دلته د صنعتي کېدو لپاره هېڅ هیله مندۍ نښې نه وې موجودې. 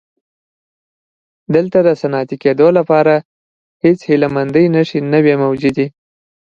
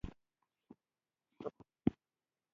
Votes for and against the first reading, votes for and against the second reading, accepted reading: 2, 0, 0, 2, first